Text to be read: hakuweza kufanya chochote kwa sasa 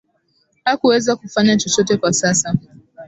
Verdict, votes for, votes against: accepted, 2, 0